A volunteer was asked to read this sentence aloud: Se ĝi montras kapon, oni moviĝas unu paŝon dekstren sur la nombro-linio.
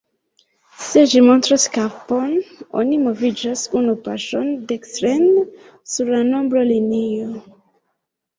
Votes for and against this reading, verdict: 0, 2, rejected